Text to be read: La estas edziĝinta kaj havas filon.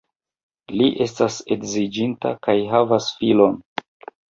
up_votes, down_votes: 2, 3